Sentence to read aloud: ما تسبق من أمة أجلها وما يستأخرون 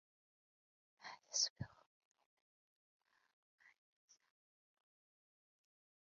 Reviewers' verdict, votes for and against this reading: rejected, 0, 2